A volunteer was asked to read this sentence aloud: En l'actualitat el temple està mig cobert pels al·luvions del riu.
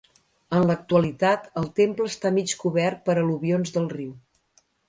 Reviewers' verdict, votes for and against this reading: rejected, 1, 2